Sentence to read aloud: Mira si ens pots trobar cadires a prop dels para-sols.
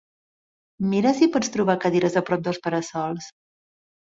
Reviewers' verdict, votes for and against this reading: rejected, 1, 2